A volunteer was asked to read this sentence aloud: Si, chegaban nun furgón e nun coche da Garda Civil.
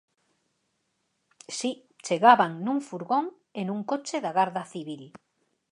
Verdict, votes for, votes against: accepted, 4, 0